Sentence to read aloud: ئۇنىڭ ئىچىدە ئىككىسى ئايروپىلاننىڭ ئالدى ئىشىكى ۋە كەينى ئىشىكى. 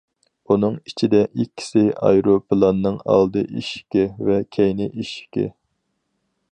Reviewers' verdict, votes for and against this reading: accepted, 4, 0